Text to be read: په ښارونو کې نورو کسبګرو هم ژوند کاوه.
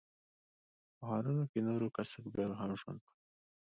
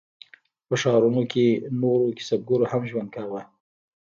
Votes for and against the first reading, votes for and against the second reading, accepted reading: 2, 1, 0, 2, first